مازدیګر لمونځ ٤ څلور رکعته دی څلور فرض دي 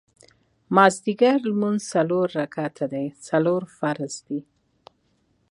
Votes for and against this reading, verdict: 0, 2, rejected